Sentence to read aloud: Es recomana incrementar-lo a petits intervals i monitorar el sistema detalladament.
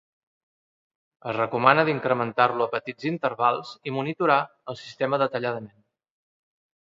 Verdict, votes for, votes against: accepted, 2, 0